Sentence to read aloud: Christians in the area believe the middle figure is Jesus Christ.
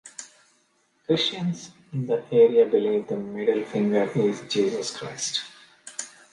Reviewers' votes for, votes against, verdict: 0, 2, rejected